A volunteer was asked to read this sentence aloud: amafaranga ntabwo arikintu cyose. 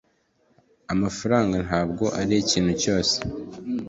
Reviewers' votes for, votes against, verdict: 2, 0, accepted